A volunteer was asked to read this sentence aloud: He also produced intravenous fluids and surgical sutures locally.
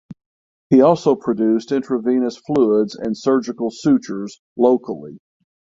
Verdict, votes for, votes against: accepted, 6, 0